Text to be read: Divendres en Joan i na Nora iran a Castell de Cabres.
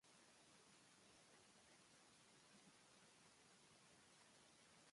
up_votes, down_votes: 0, 2